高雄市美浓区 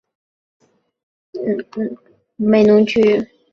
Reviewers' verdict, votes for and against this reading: rejected, 1, 2